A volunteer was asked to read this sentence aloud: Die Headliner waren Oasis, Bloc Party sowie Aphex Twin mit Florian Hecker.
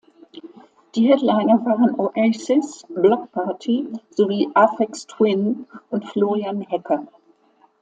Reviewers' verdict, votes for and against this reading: accepted, 2, 1